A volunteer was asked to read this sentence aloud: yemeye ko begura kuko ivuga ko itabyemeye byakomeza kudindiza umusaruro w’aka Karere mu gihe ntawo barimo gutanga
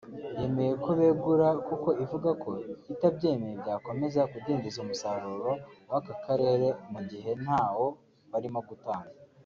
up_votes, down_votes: 2, 0